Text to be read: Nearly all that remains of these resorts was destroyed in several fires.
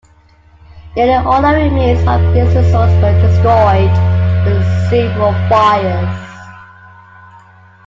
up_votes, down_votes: 0, 2